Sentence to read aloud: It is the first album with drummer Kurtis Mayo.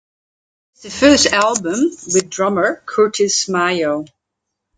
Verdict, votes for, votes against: rejected, 0, 2